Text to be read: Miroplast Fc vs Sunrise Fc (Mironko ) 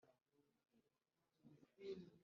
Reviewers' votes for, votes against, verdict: 1, 2, rejected